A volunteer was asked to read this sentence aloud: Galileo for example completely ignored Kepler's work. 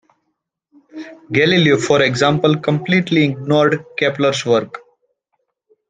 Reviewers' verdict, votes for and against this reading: accepted, 2, 1